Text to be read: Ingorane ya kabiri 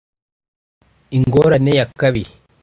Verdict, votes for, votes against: accepted, 2, 1